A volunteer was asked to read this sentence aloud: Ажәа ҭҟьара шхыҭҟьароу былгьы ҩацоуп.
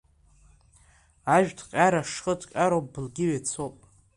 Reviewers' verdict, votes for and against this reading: rejected, 0, 2